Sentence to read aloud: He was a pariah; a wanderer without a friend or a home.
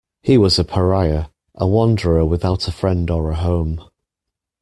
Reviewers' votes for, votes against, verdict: 2, 0, accepted